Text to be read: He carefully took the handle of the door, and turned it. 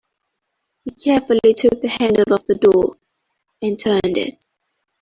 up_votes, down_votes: 1, 2